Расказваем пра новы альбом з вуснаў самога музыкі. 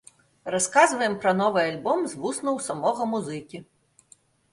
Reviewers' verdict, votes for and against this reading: accepted, 2, 0